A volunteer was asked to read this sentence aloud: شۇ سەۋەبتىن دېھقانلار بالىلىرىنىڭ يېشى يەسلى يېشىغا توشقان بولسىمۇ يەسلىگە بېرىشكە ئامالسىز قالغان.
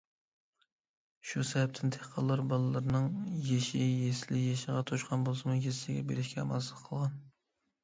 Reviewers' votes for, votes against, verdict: 2, 0, accepted